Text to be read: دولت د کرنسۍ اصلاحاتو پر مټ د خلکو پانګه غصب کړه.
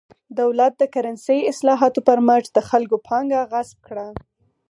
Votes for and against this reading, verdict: 4, 0, accepted